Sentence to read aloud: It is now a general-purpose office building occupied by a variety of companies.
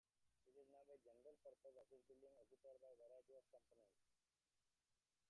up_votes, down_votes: 0, 2